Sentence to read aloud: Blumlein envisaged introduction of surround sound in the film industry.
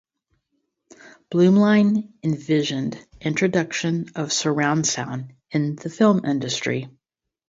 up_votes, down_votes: 0, 2